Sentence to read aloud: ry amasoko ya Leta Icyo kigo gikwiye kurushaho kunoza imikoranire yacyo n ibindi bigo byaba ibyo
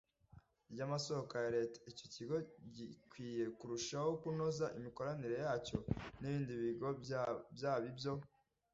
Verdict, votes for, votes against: rejected, 0, 2